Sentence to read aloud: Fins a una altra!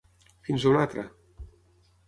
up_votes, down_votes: 6, 0